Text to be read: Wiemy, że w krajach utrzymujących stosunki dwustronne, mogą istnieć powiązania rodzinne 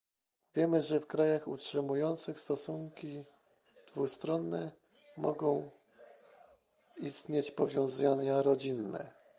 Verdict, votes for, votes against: rejected, 0, 2